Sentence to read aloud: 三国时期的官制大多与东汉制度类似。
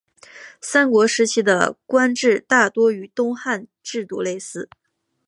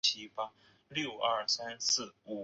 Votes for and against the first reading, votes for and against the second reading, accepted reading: 5, 0, 0, 2, first